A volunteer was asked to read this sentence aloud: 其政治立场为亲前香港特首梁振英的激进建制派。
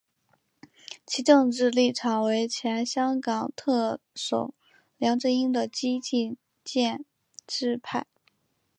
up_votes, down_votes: 0, 2